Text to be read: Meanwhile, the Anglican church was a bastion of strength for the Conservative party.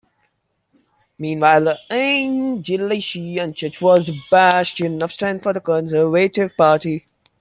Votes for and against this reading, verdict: 0, 2, rejected